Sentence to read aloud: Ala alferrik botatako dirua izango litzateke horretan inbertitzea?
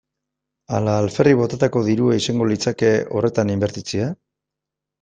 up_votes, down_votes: 1, 2